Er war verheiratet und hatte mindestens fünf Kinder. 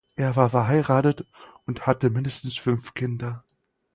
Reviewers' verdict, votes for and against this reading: accepted, 4, 0